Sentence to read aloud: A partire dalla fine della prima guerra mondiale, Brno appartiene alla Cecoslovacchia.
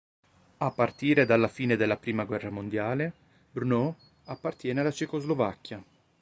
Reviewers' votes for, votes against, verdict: 3, 0, accepted